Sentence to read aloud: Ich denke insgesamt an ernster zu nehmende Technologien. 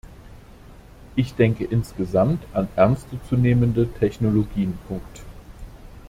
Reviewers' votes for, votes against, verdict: 1, 2, rejected